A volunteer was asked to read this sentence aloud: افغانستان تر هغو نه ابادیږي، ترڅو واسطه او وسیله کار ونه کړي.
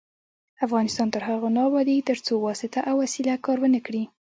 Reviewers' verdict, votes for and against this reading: rejected, 1, 2